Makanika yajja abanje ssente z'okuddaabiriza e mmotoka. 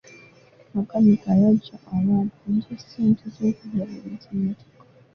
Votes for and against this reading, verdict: 0, 3, rejected